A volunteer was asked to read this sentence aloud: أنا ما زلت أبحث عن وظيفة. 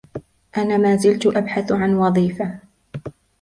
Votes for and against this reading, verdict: 2, 1, accepted